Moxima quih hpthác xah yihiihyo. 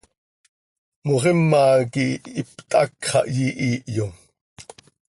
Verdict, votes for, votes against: accepted, 2, 0